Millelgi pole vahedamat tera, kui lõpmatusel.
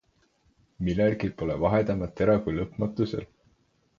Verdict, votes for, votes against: accepted, 4, 0